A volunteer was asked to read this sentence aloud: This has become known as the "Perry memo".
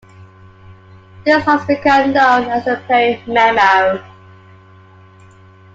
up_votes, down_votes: 2, 1